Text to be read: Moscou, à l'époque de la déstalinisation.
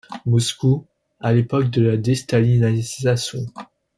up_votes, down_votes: 1, 2